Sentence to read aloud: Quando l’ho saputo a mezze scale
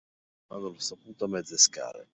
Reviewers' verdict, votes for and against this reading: rejected, 1, 2